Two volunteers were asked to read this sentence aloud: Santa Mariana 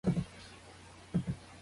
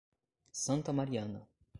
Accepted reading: second